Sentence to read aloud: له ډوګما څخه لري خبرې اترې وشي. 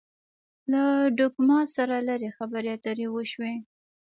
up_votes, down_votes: 1, 2